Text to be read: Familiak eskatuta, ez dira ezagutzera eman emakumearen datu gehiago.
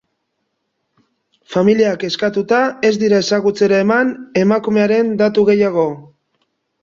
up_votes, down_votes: 2, 0